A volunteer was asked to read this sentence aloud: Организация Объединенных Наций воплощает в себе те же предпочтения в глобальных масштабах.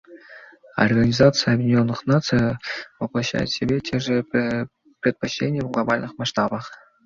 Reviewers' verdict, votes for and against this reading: accepted, 2, 0